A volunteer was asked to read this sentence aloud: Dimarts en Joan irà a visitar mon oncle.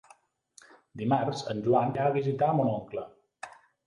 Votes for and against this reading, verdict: 2, 3, rejected